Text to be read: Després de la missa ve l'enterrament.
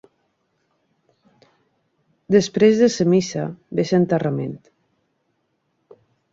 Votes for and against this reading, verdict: 0, 2, rejected